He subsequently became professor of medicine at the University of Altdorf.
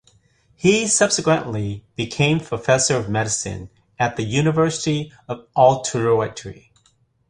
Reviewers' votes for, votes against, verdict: 0, 2, rejected